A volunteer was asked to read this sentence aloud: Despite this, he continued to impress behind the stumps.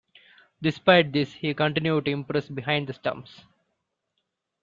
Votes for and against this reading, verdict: 2, 0, accepted